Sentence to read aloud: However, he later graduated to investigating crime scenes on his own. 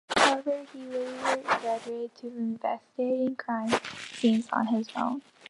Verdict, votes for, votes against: accepted, 2, 0